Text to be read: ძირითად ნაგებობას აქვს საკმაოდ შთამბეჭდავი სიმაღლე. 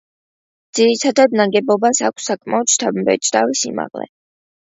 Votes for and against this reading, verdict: 2, 0, accepted